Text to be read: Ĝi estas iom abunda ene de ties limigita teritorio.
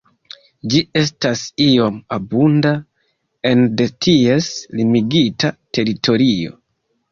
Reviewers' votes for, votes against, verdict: 2, 0, accepted